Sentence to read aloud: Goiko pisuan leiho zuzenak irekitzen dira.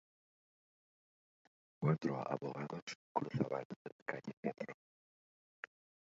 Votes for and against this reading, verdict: 0, 3, rejected